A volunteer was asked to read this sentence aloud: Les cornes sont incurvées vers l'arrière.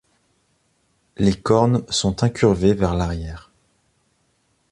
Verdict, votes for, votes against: accepted, 2, 0